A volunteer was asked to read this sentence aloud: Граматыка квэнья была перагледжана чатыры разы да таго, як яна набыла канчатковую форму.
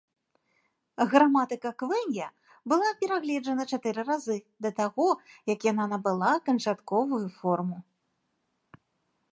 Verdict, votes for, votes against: accepted, 2, 0